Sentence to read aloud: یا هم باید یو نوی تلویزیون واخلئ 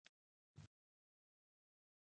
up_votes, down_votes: 1, 2